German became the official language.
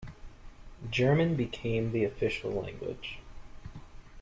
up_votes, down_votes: 2, 0